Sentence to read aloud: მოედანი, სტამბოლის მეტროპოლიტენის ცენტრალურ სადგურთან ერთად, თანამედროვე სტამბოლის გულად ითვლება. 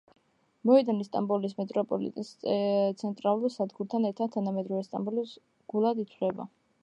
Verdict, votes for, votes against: rejected, 0, 2